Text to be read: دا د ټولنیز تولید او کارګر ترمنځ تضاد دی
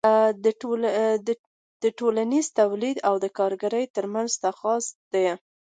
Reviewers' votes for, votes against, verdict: 2, 0, accepted